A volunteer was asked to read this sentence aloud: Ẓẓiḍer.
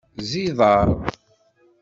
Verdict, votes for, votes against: accepted, 2, 0